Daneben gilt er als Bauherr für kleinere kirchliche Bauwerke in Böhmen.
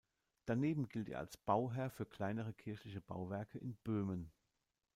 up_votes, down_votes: 2, 0